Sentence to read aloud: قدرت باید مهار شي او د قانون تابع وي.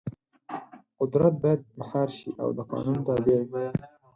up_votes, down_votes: 2, 4